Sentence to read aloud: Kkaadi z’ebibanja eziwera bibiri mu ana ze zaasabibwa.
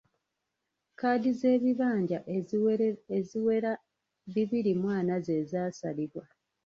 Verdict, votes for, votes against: rejected, 1, 2